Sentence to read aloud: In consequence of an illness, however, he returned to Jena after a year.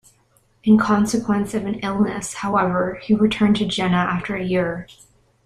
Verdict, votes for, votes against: accepted, 2, 0